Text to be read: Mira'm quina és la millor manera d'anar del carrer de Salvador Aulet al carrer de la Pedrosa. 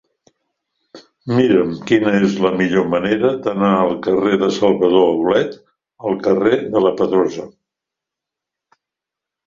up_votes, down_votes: 2, 3